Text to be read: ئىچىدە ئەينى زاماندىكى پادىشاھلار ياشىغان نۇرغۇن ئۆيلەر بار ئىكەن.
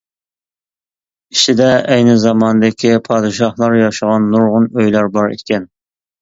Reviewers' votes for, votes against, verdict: 2, 0, accepted